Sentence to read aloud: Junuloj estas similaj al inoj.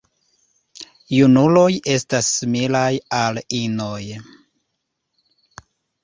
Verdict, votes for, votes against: accepted, 2, 1